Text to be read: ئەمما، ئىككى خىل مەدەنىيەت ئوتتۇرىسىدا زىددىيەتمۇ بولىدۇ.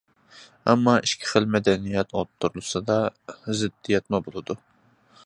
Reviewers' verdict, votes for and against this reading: accepted, 2, 0